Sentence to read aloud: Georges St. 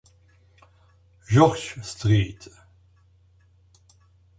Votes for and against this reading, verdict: 0, 2, rejected